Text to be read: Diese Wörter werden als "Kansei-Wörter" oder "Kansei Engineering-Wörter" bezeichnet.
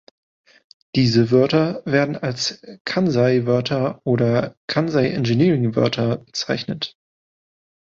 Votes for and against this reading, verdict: 2, 0, accepted